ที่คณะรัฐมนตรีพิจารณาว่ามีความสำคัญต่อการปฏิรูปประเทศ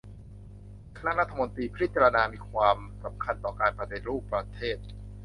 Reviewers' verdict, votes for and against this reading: rejected, 0, 2